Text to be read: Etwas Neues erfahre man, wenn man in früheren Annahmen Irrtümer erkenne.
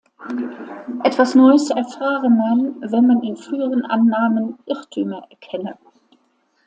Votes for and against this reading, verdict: 2, 0, accepted